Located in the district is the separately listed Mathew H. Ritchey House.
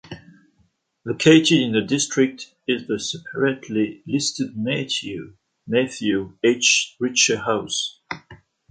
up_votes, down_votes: 1, 2